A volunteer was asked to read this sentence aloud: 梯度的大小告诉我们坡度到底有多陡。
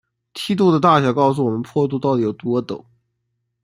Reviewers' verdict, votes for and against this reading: rejected, 1, 2